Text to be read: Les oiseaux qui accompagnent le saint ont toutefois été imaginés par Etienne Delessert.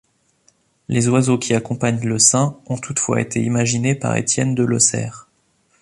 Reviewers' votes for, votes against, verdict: 1, 2, rejected